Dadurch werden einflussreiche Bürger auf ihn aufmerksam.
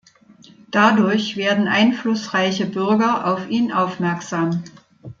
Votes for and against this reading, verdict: 2, 0, accepted